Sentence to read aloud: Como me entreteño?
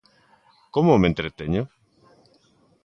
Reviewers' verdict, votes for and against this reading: accepted, 2, 0